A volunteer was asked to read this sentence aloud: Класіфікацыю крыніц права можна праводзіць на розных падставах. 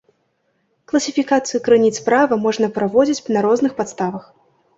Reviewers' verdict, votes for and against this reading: accepted, 2, 0